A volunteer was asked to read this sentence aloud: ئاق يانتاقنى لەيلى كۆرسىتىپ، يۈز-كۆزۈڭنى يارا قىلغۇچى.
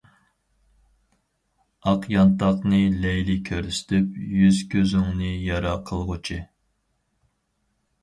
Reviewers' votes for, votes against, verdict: 6, 0, accepted